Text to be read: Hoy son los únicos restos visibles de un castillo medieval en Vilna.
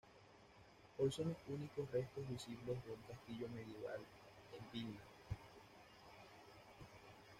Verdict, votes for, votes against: rejected, 1, 2